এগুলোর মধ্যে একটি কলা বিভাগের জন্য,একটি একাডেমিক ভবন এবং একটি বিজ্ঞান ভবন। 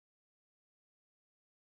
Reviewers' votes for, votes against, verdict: 0, 2, rejected